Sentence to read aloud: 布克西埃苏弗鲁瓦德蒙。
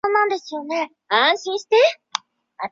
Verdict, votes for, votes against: rejected, 0, 4